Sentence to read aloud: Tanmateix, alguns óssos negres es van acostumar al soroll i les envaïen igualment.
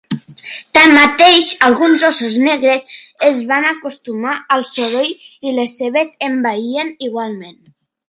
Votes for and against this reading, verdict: 0, 2, rejected